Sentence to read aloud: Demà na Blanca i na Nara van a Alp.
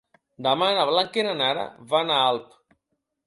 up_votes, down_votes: 2, 0